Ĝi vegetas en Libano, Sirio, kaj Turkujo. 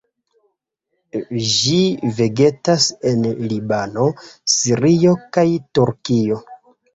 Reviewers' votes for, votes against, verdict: 2, 1, accepted